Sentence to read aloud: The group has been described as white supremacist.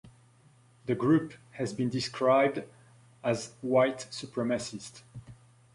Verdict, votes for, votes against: accepted, 2, 1